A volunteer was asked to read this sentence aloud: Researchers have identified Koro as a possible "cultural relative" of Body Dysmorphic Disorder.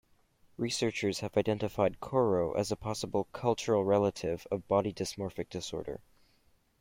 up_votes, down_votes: 0, 2